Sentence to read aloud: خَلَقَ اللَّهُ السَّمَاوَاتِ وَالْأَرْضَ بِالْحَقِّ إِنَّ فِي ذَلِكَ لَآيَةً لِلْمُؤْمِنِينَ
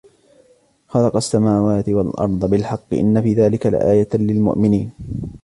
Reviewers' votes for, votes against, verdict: 0, 2, rejected